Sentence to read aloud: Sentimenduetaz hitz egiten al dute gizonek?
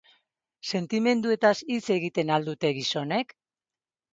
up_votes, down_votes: 4, 2